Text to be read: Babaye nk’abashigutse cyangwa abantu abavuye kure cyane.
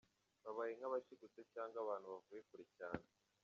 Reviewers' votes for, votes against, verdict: 2, 3, rejected